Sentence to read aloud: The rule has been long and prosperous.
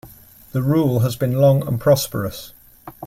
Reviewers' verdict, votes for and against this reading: accepted, 2, 1